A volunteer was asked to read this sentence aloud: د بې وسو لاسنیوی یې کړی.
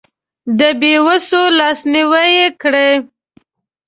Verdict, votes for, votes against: accepted, 2, 1